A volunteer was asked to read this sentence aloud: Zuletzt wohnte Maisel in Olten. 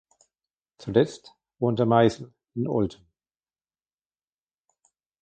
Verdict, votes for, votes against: rejected, 1, 2